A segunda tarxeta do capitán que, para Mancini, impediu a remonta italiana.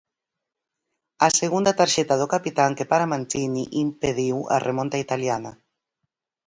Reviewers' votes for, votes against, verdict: 4, 0, accepted